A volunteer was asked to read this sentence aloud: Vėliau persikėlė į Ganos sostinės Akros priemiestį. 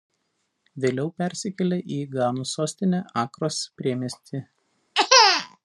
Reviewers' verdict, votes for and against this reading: rejected, 1, 2